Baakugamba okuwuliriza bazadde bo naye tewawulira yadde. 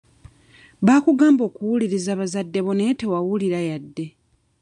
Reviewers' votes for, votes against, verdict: 2, 0, accepted